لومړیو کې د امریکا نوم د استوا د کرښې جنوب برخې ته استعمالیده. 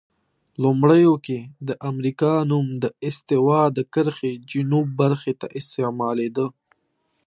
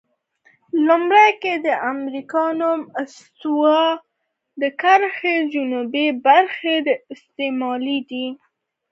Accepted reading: first